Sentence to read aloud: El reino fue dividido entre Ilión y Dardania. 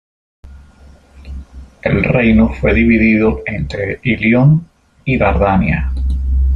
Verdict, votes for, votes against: accepted, 2, 0